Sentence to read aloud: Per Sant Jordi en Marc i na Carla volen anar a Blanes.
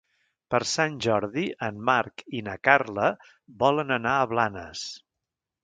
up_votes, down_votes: 3, 0